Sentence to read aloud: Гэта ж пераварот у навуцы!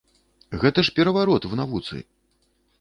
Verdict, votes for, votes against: rejected, 1, 2